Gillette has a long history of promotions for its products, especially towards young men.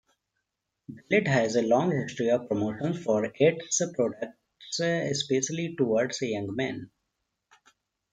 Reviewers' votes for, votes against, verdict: 0, 2, rejected